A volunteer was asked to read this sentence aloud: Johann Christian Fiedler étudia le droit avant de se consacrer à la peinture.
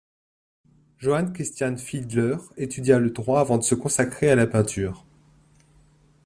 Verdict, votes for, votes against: accepted, 2, 0